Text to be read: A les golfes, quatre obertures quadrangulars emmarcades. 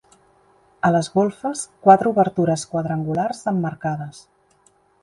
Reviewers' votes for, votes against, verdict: 4, 0, accepted